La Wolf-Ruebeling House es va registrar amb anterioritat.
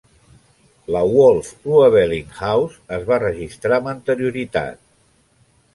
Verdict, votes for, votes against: accepted, 2, 0